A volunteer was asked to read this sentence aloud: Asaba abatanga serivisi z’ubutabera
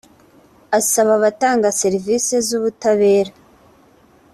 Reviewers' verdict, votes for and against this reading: accepted, 2, 0